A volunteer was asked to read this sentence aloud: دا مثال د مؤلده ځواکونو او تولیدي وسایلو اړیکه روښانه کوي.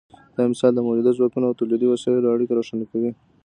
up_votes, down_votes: 2, 0